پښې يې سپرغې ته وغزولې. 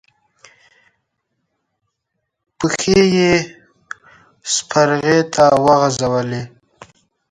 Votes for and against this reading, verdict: 2, 0, accepted